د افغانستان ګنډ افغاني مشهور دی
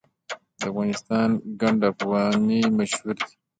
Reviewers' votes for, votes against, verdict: 2, 0, accepted